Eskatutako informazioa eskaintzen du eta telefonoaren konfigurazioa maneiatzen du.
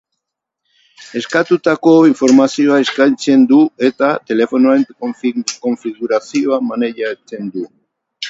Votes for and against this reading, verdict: 2, 6, rejected